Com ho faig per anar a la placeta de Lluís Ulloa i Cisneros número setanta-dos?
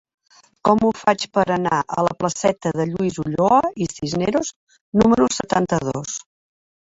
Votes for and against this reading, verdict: 3, 0, accepted